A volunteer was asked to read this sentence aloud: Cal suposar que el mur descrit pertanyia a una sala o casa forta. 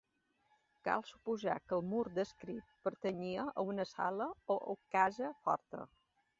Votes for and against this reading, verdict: 1, 2, rejected